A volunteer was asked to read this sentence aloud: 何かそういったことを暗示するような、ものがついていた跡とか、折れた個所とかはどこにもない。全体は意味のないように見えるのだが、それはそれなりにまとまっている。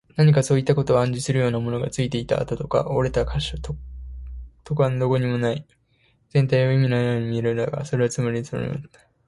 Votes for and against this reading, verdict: 0, 2, rejected